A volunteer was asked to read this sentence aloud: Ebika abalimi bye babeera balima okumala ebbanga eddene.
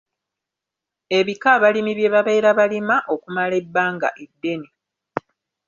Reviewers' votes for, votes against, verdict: 2, 0, accepted